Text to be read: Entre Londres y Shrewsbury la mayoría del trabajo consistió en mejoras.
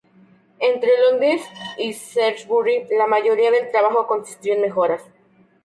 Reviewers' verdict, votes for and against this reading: rejected, 0, 2